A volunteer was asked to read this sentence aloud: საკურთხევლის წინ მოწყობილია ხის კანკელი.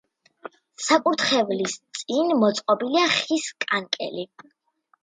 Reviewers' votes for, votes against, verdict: 2, 0, accepted